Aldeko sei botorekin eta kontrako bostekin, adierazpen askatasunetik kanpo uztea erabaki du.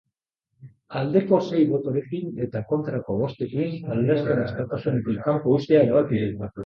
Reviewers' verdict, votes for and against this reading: rejected, 0, 2